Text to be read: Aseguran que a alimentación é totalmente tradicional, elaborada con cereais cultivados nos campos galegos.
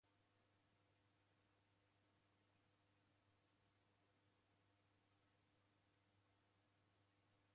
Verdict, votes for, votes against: rejected, 0, 2